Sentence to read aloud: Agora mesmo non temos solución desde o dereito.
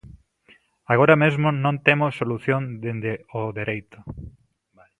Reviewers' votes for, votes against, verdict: 0, 2, rejected